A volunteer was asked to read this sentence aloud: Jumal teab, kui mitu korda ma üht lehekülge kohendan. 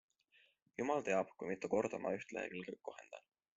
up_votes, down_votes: 2, 1